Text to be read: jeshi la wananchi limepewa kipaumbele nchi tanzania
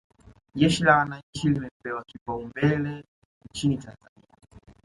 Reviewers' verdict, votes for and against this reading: accepted, 2, 1